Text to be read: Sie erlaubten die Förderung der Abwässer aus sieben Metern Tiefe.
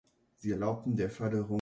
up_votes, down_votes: 0, 2